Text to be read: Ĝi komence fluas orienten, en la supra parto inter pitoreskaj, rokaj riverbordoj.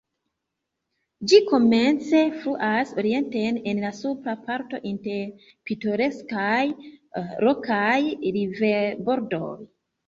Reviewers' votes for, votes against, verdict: 1, 2, rejected